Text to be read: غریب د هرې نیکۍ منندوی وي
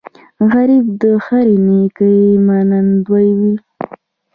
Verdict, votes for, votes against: accepted, 2, 0